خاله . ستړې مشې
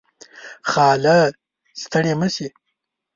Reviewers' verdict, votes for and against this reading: accepted, 3, 1